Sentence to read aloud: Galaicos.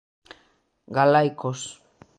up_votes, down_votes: 2, 0